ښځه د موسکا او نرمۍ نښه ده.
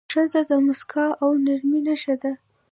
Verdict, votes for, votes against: accepted, 2, 0